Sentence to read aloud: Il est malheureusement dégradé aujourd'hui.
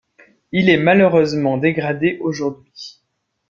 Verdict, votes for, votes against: accepted, 2, 0